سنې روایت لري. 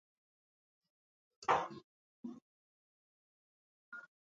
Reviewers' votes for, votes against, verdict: 0, 2, rejected